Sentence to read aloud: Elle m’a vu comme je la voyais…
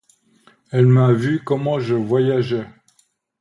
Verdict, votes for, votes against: rejected, 1, 2